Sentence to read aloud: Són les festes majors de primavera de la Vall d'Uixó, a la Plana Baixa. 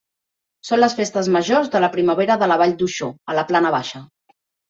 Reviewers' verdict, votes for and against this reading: rejected, 2, 4